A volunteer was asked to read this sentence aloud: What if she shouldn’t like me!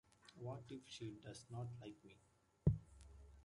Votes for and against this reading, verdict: 0, 2, rejected